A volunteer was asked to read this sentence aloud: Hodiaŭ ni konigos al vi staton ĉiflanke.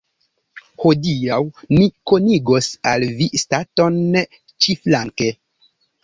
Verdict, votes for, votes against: accepted, 2, 0